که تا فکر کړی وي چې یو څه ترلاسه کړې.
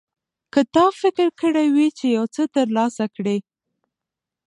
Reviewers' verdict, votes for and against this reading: rejected, 0, 2